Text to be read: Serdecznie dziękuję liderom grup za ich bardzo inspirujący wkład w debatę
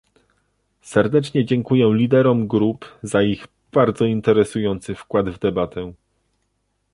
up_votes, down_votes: 1, 2